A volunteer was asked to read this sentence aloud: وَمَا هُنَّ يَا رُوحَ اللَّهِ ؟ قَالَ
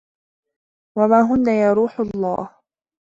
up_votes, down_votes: 1, 2